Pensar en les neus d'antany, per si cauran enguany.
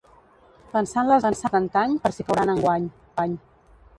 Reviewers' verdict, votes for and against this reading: rejected, 1, 2